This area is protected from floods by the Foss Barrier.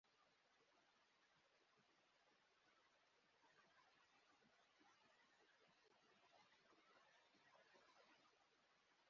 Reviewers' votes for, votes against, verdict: 0, 2, rejected